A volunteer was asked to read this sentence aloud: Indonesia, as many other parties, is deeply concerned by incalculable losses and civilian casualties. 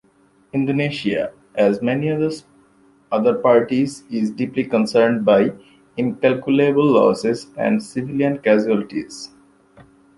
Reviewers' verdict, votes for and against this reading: rejected, 0, 2